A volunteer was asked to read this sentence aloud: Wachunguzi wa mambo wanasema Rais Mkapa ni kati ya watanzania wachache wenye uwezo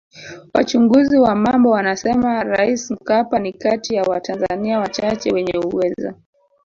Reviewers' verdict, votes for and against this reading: rejected, 1, 3